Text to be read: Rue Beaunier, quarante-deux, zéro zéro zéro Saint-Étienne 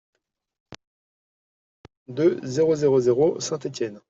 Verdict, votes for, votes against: rejected, 0, 2